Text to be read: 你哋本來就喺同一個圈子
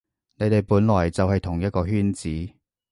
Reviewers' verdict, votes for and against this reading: accepted, 2, 0